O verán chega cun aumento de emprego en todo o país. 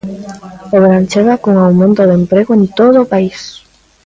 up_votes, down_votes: 1, 2